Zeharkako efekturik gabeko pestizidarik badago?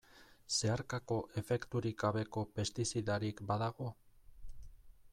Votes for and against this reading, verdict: 1, 2, rejected